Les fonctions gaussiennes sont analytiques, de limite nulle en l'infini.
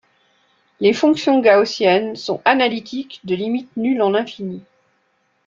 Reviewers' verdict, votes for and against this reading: rejected, 1, 2